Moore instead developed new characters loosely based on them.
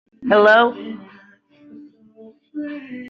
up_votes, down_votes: 0, 2